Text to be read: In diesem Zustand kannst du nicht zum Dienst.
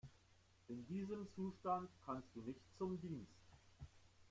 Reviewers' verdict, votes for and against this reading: rejected, 1, 2